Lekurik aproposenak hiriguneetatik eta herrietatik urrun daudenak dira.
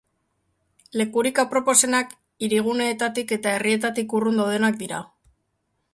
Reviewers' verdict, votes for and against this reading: accepted, 2, 0